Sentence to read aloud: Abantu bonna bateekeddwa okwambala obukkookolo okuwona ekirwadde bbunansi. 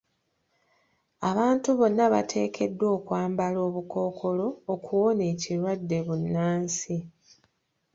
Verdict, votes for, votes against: rejected, 1, 2